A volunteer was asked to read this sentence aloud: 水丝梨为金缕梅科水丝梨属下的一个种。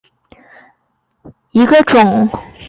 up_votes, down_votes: 0, 4